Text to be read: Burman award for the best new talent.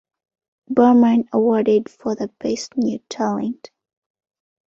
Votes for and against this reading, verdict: 0, 2, rejected